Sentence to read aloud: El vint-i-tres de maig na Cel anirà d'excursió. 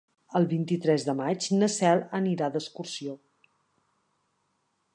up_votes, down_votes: 4, 0